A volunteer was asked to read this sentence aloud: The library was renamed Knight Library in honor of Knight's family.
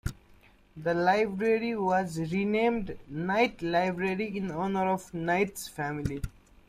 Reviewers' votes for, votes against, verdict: 1, 2, rejected